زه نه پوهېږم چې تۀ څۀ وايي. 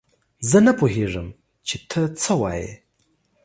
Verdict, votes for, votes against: accepted, 2, 0